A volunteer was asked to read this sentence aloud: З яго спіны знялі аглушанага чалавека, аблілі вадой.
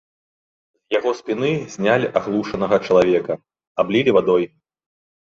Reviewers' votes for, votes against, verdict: 1, 2, rejected